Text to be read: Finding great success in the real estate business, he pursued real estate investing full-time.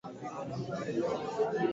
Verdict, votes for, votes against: rejected, 0, 2